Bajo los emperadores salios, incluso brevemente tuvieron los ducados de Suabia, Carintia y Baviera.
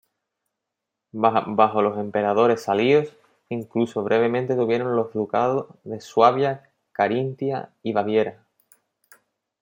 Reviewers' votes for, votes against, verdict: 1, 2, rejected